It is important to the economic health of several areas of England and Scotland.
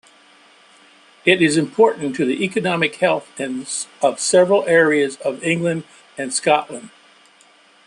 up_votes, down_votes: 1, 2